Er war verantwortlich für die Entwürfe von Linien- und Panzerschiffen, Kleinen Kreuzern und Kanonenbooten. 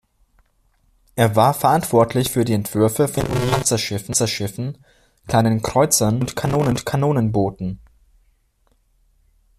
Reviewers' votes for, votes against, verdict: 0, 2, rejected